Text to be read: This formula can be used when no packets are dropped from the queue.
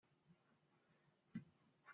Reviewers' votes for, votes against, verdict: 0, 2, rejected